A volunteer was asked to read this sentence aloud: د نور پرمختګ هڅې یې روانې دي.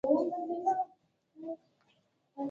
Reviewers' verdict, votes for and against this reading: accepted, 2, 0